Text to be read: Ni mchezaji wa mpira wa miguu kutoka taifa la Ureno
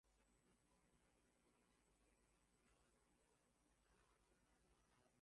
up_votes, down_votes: 0, 2